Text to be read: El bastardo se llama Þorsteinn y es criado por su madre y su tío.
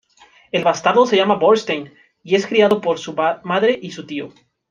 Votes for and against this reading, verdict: 0, 2, rejected